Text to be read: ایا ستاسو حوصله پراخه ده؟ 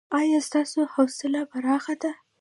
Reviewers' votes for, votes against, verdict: 2, 0, accepted